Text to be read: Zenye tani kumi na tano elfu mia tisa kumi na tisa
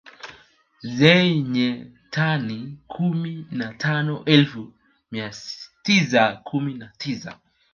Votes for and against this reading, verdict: 1, 3, rejected